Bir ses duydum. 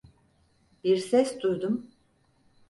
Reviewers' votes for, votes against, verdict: 4, 0, accepted